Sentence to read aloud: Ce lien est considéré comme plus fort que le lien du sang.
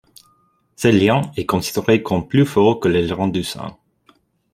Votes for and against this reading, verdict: 0, 2, rejected